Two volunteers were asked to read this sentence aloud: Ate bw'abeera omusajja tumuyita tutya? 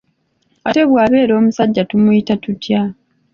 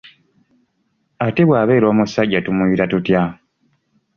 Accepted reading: second